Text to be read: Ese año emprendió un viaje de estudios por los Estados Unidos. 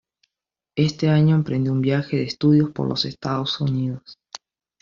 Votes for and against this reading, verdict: 0, 2, rejected